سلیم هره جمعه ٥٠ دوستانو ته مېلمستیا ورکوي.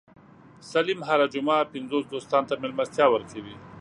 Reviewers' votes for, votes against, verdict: 0, 2, rejected